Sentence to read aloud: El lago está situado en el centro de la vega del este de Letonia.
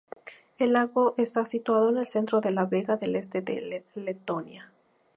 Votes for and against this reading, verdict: 2, 0, accepted